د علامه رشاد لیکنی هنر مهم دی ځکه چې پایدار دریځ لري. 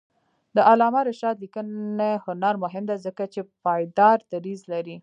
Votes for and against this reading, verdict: 2, 1, accepted